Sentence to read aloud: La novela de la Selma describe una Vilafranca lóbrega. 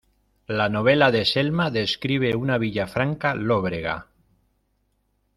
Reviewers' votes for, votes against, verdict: 1, 2, rejected